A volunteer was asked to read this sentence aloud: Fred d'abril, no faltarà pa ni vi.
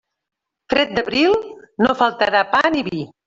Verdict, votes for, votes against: rejected, 0, 2